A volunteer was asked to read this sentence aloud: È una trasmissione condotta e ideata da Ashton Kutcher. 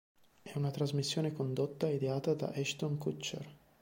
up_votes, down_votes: 2, 0